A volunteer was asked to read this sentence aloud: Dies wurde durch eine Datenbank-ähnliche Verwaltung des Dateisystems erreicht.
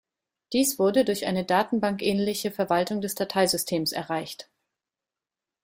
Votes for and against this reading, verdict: 2, 0, accepted